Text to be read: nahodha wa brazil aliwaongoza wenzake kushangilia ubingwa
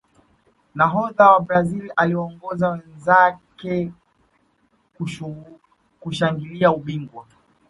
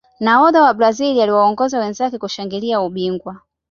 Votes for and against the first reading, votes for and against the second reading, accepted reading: 1, 2, 2, 0, second